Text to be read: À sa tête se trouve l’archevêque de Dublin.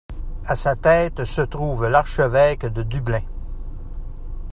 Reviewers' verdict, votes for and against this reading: accepted, 2, 1